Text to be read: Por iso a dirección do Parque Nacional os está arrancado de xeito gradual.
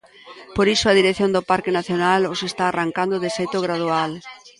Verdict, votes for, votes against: rejected, 1, 2